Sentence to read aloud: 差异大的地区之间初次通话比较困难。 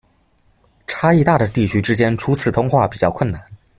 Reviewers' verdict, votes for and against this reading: accepted, 2, 0